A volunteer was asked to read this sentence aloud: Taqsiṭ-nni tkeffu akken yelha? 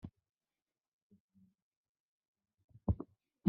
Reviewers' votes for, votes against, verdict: 0, 2, rejected